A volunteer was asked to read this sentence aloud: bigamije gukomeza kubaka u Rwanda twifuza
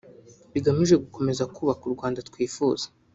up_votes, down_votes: 0, 2